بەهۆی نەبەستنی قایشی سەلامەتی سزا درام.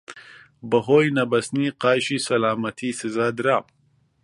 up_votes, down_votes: 2, 0